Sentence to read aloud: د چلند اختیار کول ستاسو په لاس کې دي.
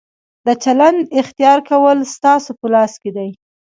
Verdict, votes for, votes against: accepted, 2, 0